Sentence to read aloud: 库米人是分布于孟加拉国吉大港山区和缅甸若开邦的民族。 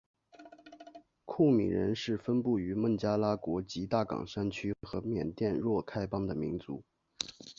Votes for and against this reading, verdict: 2, 1, accepted